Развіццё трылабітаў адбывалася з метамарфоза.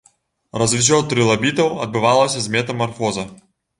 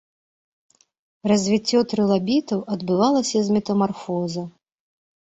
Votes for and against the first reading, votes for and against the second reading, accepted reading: 1, 2, 2, 0, second